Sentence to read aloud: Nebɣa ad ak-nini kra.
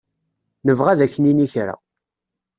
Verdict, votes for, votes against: accepted, 2, 0